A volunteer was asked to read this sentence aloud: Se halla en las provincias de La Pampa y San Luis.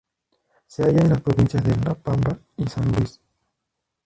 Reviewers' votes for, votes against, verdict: 0, 2, rejected